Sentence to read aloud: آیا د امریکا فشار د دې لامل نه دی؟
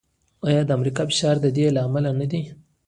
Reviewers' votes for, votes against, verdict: 0, 2, rejected